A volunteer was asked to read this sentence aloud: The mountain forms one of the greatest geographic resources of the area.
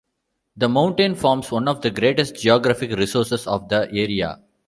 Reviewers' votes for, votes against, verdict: 2, 0, accepted